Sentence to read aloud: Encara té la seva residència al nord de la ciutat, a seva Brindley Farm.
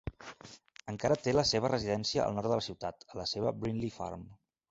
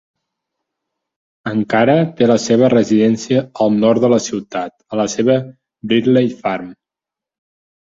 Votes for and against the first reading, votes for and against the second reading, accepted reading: 1, 2, 4, 2, second